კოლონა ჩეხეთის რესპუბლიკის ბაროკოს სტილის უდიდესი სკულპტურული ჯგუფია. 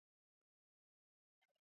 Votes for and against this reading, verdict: 0, 3, rejected